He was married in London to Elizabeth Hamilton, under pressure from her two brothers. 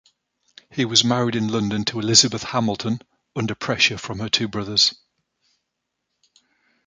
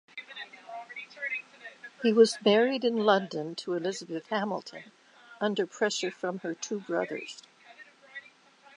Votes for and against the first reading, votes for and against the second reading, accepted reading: 2, 0, 1, 2, first